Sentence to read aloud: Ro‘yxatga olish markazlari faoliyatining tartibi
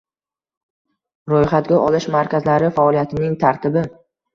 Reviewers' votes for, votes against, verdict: 2, 0, accepted